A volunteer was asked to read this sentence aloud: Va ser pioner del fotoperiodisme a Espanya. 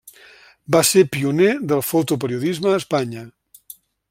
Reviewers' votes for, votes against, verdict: 3, 0, accepted